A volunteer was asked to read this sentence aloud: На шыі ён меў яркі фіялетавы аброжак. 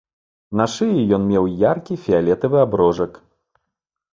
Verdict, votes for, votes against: accepted, 2, 0